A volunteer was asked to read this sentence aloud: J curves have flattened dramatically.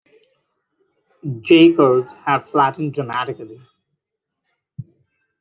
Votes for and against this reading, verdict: 2, 0, accepted